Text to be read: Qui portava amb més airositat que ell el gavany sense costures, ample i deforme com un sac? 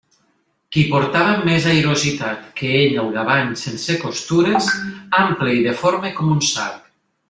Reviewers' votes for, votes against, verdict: 1, 2, rejected